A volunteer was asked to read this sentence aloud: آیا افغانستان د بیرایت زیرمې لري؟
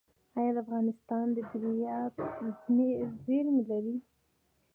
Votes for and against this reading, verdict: 2, 1, accepted